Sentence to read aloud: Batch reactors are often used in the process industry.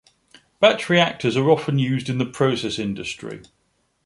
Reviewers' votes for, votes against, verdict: 2, 0, accepted